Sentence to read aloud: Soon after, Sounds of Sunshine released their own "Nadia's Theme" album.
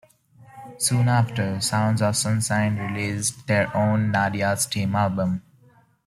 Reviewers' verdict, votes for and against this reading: accepted, 2, 1